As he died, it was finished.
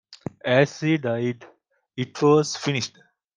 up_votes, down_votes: 2, 0